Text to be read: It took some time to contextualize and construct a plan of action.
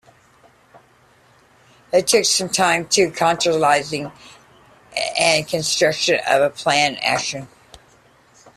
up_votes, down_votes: 0, 2